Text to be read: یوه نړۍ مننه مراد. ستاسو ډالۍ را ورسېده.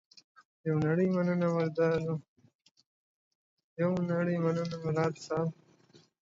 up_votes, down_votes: 1, 2